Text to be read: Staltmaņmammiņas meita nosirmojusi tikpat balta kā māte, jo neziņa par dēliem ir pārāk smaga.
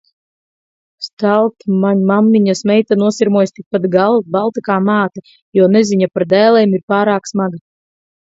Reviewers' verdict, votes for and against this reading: rejected, 0, 4